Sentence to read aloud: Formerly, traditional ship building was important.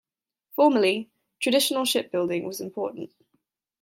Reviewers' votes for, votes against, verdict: 2, 0, accepted